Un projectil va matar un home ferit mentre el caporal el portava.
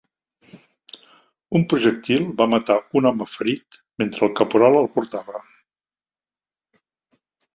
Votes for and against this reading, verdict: 3, 0, accepted